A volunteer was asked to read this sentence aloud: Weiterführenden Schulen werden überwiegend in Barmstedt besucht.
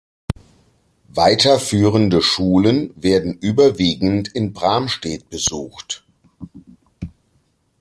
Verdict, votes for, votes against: rejected, 1, 2